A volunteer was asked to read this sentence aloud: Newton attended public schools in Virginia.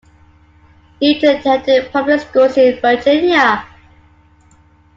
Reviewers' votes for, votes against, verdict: 1, 2, rejected